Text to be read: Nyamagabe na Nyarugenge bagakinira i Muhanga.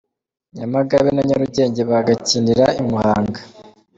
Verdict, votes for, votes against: accepted, 2, 0